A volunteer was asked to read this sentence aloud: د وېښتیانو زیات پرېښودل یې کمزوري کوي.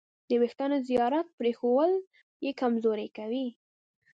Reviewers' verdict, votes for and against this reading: rejected, 0, 2